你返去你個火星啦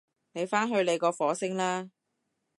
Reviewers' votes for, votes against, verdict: 2, 0, accepted